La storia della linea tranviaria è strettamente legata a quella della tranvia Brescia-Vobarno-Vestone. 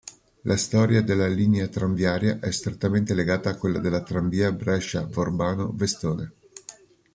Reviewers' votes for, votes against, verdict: 1, 2, rejected